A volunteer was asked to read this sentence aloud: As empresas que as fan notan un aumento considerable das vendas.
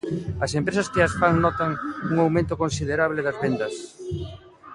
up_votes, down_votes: 1, 2